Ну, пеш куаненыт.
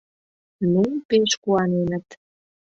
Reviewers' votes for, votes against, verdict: 2, 0, accepted